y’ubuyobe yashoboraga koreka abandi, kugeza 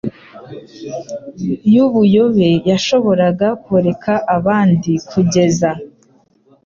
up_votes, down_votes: 2, 0